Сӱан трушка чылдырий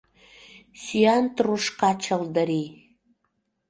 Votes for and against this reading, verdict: 2, 0, accepted